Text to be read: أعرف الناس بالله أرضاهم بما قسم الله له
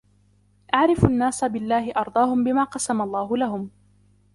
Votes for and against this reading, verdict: 1, 2, rejected